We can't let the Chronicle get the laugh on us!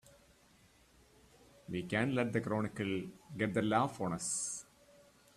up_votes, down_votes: 2, 1